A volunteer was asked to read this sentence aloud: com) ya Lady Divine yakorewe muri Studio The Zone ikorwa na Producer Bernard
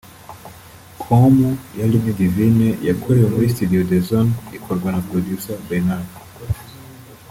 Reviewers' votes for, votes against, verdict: 2, 3, rejected